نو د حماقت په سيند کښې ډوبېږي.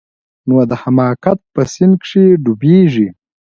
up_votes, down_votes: 2, 1